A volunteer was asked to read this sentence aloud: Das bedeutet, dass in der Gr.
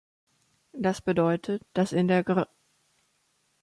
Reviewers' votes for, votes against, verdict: 2, 0, accepted